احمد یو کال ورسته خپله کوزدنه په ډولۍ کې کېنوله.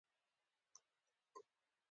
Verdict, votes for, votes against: accepted, 2, 1